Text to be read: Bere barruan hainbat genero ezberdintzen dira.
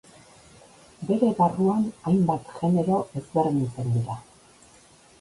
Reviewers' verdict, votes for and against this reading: rejected, 0, 2